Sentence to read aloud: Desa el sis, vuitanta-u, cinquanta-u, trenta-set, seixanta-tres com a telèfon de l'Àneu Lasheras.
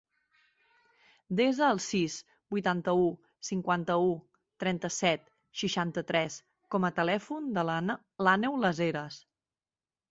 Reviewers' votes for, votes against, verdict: 0, 2, rejected